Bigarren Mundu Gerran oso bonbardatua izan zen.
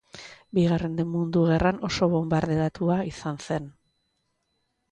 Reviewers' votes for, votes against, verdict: 0, 2, rejected